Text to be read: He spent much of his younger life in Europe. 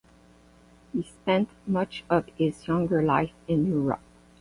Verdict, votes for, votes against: accepted, 8, 0